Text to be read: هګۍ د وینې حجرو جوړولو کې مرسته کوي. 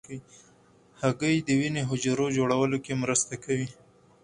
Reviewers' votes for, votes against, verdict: 4, 0, accepted